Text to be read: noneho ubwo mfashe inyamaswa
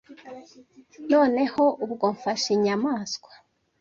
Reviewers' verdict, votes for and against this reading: accepted, 2, 0